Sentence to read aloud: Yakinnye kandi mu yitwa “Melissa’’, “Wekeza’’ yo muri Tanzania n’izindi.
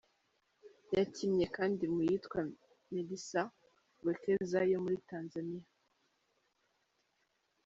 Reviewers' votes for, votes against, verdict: 0, 3, rejected